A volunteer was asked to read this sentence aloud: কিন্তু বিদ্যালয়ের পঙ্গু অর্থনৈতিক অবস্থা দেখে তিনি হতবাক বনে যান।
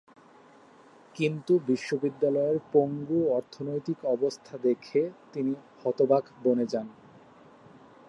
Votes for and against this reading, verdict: 0, 2, rejected